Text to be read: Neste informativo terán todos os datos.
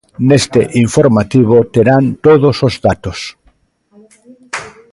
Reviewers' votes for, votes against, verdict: 0, 2, rejected